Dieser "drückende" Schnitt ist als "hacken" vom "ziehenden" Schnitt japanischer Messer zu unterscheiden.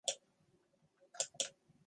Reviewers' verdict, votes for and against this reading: rejected, 0, 2